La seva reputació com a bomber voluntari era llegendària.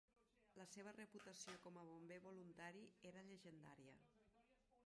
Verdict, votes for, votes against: rejected, 0, 2